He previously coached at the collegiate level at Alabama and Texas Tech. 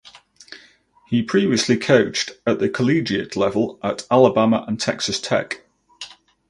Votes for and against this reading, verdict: 2, 2, rejected